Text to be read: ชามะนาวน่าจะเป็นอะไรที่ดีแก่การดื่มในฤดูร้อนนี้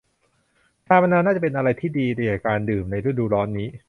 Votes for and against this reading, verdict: 0, 3, rejected